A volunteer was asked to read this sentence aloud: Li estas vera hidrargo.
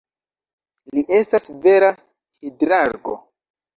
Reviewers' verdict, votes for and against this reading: accepted, 2, 0